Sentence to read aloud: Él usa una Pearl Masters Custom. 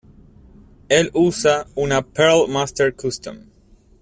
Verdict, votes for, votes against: accepted, 2, 0